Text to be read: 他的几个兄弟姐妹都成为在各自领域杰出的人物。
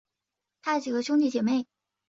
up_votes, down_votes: 0, 5